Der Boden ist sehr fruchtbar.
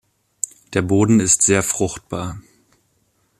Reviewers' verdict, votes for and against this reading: accepted, 2, 0